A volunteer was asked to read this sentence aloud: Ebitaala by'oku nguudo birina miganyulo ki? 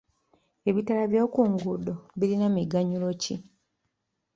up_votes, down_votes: 0, 2